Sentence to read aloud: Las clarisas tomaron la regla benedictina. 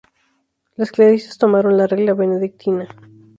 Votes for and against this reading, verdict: 0, 2, rejected